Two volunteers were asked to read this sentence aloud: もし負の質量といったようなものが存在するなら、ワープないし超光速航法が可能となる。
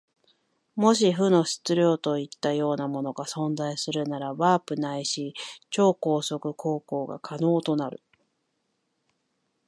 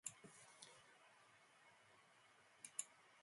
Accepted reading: first